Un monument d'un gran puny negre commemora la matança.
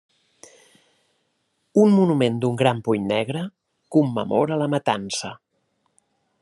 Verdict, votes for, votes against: accepted, 3, 0